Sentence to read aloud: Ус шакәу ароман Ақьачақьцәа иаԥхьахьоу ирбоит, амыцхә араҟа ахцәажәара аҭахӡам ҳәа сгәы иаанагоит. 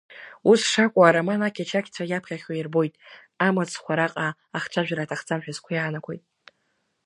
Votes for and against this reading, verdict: 1, 2, rejected